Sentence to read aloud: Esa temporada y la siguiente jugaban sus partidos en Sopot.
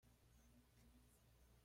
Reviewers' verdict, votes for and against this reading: rejected, 1, 2